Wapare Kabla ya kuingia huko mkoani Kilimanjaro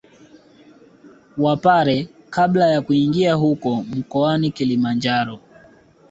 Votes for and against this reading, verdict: 2, 1, accepted